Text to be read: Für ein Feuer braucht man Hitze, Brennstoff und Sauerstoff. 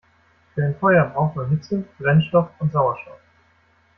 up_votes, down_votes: 2, 0